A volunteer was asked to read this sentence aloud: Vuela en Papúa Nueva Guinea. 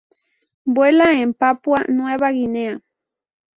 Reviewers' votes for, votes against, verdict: 0, 2, rejected